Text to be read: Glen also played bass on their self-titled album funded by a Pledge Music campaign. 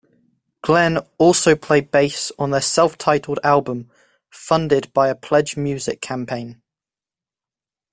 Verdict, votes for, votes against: accepted, 2, 1